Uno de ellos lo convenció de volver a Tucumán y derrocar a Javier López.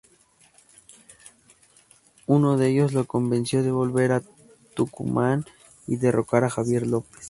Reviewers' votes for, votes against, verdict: 2, 0, accepted